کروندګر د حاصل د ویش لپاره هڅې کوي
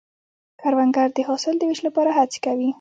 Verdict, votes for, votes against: rejected, 1, 2